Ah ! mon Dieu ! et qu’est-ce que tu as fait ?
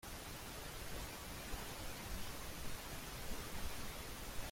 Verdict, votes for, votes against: rejected, 0, 2